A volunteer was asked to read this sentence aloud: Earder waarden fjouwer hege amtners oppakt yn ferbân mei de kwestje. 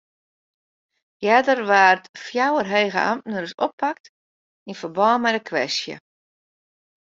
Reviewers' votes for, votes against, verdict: 1, 2, rejected